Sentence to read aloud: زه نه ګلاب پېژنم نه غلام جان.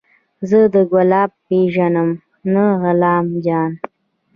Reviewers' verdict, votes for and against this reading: rejected, 1, 2